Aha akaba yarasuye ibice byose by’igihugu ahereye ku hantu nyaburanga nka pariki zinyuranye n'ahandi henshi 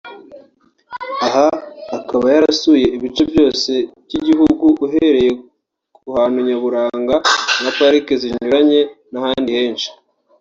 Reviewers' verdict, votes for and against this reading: rejected, 1, 2